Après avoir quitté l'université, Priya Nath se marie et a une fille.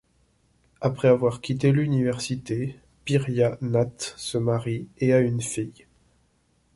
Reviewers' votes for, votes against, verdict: 0, 2, rejected